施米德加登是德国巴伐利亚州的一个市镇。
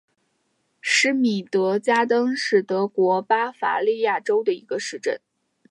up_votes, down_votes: 4, 0